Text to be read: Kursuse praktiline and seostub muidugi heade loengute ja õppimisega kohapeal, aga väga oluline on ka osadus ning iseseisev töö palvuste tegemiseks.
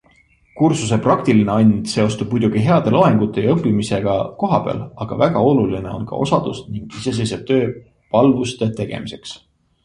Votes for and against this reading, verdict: 2, 0, accepted